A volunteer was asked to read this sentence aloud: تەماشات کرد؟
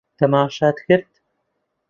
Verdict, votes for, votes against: accepted, 2, 0